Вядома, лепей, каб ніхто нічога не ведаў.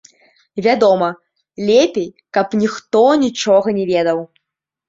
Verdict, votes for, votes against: rejected, 1, 2